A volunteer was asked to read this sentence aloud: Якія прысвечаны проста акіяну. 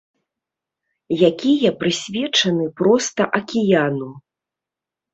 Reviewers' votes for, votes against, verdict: 2, 0, accepted